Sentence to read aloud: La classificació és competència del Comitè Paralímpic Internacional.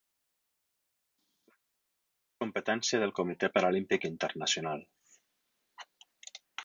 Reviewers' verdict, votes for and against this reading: rejected, 0, 6